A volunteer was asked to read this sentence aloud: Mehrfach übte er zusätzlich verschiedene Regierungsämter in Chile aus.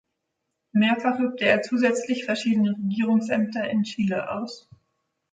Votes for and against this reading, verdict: 2, 0, accepted